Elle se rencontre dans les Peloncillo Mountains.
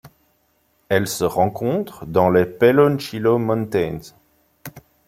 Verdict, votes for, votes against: rejected, 1, 2